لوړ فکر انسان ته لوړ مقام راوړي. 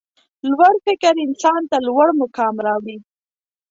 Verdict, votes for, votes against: accepted, 2, 0